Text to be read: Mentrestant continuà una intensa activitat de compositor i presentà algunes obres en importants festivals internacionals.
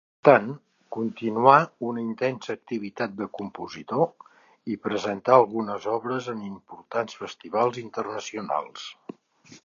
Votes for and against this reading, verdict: 0, 2, rejected